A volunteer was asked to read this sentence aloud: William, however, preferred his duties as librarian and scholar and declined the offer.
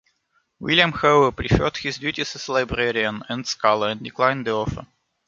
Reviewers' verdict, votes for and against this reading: rejected, 1, 2